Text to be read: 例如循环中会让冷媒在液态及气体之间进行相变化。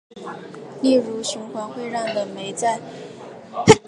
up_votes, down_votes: 0, 2